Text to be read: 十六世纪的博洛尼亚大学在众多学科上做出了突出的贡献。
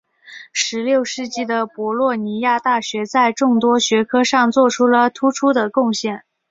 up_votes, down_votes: 2, 0